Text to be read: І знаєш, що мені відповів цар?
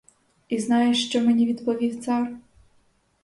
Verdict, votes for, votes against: accepted, 2, 0